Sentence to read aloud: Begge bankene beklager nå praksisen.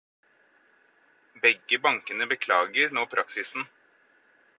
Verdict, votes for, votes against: accepted, 4, 0